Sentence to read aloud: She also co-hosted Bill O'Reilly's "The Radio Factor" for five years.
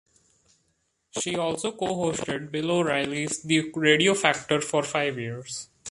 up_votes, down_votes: 1, 2